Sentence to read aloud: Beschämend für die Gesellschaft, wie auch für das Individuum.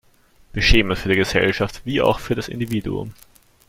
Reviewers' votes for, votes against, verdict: 1, 2, rejected